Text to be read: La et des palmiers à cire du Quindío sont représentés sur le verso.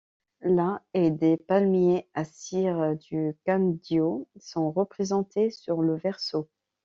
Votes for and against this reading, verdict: 2, 0, accepted